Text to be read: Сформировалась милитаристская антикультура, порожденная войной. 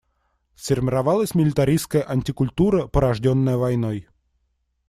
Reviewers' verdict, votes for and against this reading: rejected, 0, 2